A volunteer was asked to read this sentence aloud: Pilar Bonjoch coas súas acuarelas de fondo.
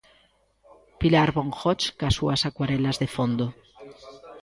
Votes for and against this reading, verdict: 0, 2, rejected